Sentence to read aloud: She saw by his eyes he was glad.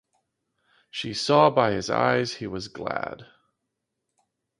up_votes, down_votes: 2, 0